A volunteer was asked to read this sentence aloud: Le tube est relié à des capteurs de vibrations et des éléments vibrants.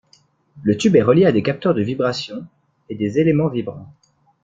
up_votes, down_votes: 2, 0